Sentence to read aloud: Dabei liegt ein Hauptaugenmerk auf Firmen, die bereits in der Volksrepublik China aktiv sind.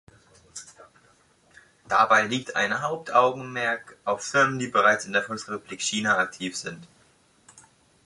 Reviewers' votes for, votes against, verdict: 1, 2, rejected